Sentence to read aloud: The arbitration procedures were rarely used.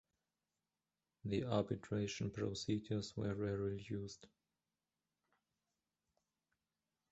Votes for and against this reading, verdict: 2, 1, accepted